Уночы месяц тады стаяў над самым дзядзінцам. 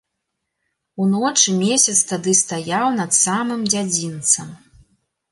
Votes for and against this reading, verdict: 2, 0, accepted